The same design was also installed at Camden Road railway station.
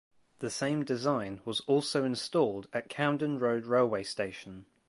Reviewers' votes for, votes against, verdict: 3, 0, accepted